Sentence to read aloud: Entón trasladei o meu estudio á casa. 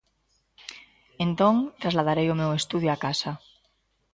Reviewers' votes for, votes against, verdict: 0, 2, rejected